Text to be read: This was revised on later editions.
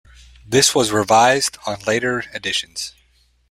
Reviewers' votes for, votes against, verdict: 2, 1, accepted